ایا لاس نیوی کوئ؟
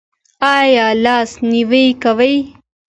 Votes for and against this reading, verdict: 2, 0, accepted